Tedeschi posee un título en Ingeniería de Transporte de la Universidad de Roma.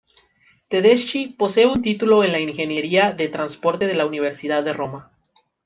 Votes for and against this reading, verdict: 2, 0, accepted